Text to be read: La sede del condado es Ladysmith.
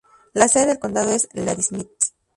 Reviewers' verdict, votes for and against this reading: rejected, 0, 4